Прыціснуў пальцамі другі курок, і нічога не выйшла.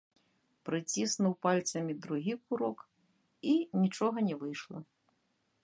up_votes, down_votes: 0, 2